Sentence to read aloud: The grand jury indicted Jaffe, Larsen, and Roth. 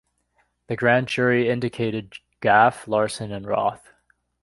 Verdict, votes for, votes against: rejected, 1, 2